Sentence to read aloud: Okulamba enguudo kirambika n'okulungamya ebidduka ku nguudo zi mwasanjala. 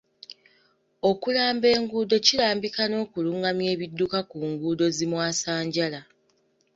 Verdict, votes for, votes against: accepted, 2, 0